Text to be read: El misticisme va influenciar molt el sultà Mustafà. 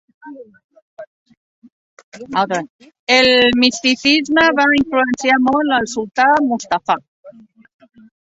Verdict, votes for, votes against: rejected, 0, 2